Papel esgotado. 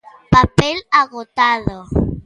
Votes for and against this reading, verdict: 0, 2, rejected